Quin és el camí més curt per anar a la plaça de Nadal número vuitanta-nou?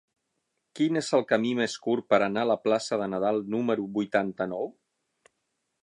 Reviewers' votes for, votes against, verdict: 6, 0, accepted